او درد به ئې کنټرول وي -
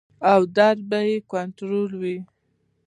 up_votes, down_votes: 2, 0